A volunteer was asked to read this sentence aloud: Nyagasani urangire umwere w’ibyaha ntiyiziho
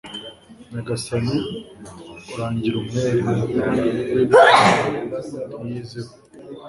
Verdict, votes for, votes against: rejected, 1, 3